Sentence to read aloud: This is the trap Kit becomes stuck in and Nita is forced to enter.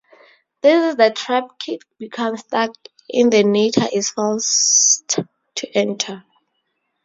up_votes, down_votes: 2, 2